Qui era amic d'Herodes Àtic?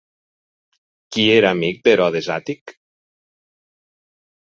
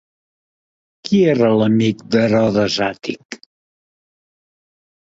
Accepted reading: first